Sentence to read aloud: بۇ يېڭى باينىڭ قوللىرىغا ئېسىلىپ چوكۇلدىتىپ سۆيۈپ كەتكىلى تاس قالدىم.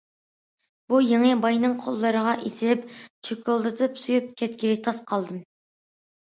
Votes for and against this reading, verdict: 2, 0, accepted